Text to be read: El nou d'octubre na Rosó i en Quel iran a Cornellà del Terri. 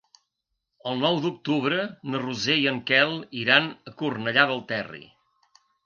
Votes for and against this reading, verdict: 0, 2, rejected